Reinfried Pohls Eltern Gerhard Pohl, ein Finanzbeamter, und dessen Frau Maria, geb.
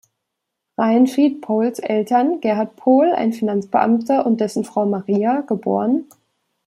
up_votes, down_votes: 1, 2